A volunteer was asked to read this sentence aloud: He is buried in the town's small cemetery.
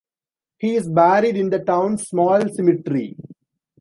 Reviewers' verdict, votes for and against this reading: rejected, 1, 2